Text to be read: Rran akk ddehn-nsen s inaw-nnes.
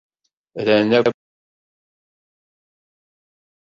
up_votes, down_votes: 0, 2